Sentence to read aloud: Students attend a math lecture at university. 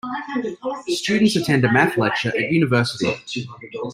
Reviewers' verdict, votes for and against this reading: accepted, 2, 0